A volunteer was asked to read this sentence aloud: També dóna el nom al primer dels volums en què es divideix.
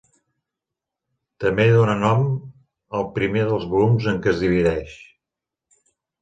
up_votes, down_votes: 0, 2